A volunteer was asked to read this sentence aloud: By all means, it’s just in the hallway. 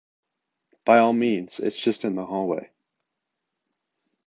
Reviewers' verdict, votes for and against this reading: accepted, 2, 0